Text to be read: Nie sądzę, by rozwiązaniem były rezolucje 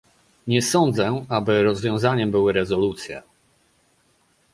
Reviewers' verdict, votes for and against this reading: rejected, 0, 2